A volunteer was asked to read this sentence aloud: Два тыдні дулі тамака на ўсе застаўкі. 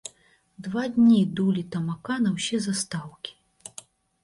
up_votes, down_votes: 0, 2